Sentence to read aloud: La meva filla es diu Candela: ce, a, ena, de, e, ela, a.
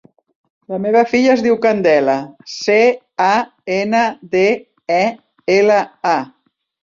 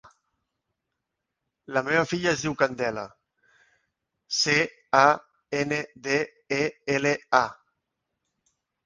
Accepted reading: first